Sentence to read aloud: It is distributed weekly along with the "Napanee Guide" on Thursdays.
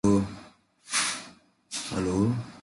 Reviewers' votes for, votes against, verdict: 0, 2, rejected